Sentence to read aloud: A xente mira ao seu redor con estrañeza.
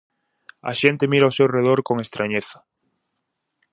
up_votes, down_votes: 4, 0